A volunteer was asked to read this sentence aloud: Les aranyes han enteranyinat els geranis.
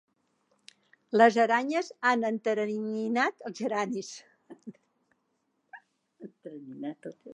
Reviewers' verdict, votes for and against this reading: rejected, 0, 2